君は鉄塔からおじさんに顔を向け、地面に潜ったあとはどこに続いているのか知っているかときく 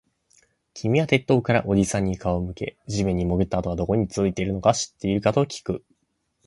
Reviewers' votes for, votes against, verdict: 2, 0, accepted